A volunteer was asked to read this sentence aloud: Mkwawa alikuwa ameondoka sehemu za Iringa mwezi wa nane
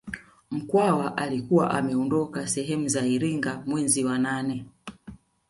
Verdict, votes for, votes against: accepted, 2, 0